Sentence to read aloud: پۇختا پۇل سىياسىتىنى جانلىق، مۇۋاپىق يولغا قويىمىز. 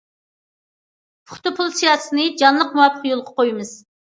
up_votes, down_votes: 2, 0